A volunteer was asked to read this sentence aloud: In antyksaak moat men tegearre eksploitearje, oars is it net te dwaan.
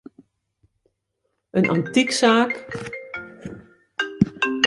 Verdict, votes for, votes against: rejected, 0, 2